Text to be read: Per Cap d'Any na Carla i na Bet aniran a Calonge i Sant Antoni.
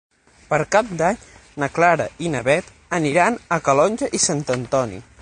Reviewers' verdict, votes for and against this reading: accepted, 6, 3